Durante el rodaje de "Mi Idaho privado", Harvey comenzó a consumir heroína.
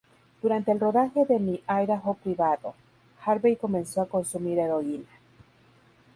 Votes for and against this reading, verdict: 4, 0, accepted